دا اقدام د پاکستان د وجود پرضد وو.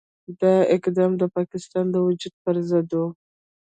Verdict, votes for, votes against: rejected, 0, 2